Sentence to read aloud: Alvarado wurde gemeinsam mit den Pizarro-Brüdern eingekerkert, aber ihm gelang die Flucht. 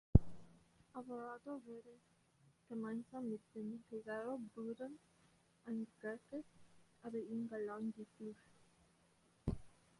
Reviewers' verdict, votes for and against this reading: rejected, 0, 2